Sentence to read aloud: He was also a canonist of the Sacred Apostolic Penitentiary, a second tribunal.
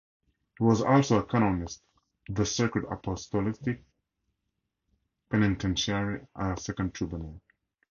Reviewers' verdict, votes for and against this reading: rejected, 0, 2